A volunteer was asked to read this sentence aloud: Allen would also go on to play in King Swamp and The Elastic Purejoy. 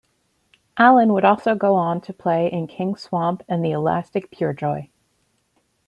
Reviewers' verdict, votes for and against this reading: accepted, 2, 1